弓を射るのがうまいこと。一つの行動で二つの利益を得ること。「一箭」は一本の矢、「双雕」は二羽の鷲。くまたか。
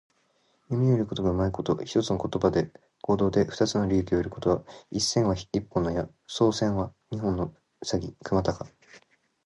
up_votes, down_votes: 2, 0